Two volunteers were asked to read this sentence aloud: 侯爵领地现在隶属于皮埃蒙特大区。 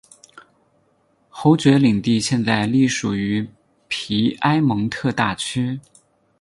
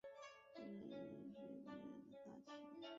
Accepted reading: first